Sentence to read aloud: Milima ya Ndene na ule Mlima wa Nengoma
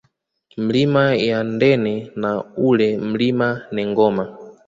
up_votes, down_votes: 2, 1